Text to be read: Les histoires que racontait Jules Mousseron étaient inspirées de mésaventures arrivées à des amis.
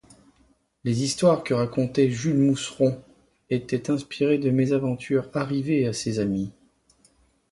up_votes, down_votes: 2, 1